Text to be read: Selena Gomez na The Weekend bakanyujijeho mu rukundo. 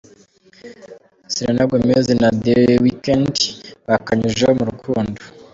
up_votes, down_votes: 2, 0